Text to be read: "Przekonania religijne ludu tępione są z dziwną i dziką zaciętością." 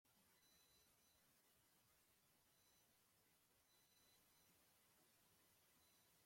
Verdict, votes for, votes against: rejected, 0, 2